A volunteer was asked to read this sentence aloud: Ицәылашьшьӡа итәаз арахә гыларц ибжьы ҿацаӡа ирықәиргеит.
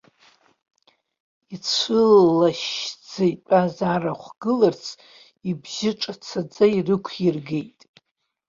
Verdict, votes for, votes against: accepted, 2, 0